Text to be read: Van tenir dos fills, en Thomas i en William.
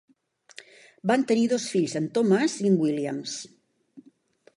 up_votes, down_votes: 1, 3